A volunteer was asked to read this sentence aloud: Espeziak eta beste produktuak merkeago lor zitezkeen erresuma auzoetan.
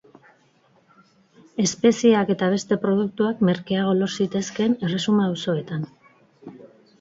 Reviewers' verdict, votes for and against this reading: accepted, 4, 0